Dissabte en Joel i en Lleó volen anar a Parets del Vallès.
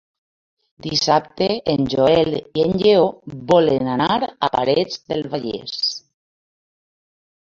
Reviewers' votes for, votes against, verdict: 2, 0, accepted